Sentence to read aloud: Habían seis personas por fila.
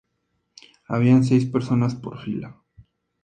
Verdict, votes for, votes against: accepted, 2, 0